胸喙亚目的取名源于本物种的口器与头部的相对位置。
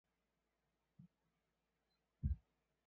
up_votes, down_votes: 1, 2